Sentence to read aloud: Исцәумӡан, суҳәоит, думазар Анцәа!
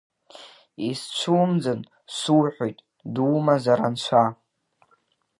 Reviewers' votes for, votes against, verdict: 2, 0, accepted